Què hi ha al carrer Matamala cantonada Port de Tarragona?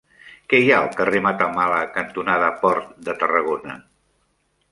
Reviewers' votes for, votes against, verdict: 3, 0, accepted